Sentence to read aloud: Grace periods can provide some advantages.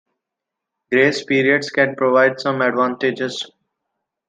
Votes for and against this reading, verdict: 2, 0, accepted